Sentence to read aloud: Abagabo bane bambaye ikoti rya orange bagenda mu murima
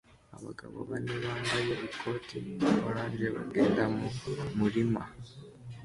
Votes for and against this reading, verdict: 2, 0, accepted